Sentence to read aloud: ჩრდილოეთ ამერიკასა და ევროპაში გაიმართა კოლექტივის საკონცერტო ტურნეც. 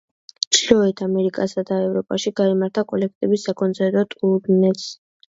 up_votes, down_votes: 2, 0